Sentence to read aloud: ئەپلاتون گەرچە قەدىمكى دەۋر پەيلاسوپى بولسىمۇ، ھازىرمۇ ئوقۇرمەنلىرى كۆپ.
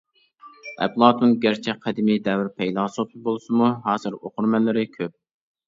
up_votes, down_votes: 0, 2